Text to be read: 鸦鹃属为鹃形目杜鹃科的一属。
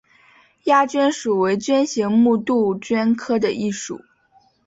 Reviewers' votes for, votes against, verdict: 5, 0, accepted